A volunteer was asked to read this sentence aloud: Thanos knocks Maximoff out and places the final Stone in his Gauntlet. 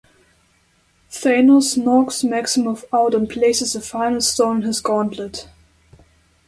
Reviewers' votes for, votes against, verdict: 1, 2, rejected